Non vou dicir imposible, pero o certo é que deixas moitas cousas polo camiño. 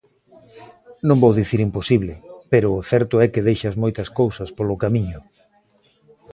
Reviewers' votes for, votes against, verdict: 2, 0, accepted